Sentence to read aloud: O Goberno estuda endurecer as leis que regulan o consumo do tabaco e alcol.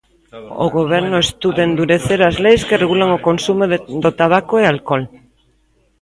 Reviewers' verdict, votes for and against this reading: rejected, 0, 3